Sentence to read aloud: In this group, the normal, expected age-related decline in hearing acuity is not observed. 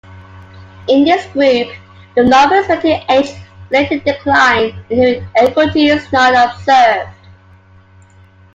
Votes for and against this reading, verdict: 1, 2, rejected